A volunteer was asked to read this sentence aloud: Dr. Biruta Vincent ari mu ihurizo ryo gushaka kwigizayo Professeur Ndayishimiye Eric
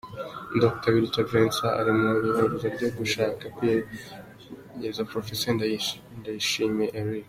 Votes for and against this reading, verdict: 2, 0, accepted